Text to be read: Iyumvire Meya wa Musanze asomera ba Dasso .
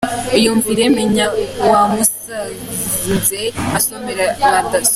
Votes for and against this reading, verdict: 1, 3, rejected